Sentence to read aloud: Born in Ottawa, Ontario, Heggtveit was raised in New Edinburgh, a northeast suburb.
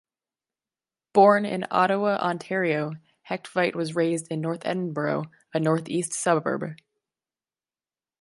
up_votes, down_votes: 0, 2